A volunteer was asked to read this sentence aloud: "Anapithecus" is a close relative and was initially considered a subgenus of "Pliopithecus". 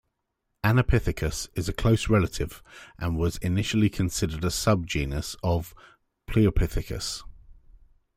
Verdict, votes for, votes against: accepted, 2, 1